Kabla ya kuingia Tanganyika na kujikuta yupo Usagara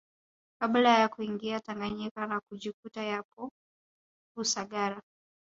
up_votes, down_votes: 1, 2